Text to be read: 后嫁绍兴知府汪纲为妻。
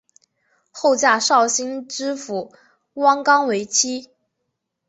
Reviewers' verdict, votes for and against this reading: accepted, 2, 0